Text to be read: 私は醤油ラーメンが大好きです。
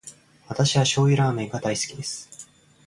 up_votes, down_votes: 2, 0